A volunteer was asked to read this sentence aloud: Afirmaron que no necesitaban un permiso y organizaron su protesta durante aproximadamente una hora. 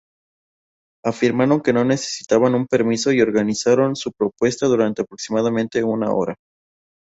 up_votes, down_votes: 0, 2